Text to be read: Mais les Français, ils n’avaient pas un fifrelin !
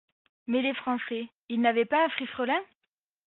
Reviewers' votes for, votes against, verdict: 1, 2, rejected